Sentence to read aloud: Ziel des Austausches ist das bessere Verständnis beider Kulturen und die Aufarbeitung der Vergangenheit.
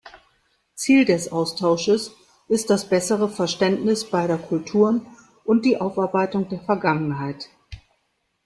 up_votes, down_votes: 1, 2